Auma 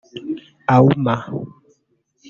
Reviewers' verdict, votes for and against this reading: rejected, 1, 2